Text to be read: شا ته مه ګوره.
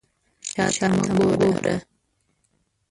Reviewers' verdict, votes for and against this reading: rejected, 0, 2